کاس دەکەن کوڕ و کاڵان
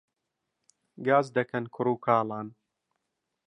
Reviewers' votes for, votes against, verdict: 0, 2, rejected